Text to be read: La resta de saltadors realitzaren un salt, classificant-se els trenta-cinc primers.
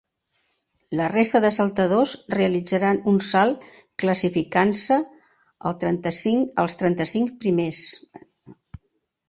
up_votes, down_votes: 0, 2